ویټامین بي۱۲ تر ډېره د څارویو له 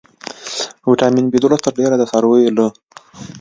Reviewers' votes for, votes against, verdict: 0, 2, rejected